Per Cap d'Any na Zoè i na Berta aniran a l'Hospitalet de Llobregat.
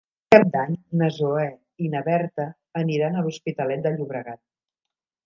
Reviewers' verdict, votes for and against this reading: rejected, 1, 2